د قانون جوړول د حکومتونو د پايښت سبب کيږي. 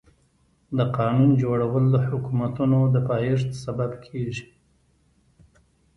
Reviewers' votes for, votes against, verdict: 2, 0, accepted